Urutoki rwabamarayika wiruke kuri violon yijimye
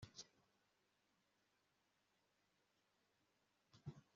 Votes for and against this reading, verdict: 1, 2, rejected